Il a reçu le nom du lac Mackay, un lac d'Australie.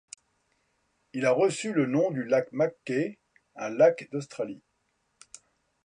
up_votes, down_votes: 2, 0